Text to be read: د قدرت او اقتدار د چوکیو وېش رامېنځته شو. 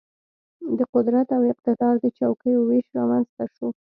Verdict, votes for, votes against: rejected, 1, 2